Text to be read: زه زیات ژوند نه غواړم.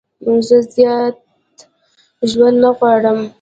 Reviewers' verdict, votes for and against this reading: accepted, 2, 1